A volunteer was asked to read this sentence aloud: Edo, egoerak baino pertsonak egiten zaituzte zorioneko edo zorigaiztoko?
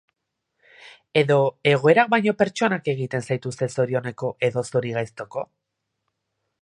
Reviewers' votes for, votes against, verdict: 2, 0, accepted